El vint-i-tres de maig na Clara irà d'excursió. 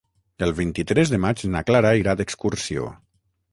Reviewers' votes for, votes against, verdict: 6, 0, accepted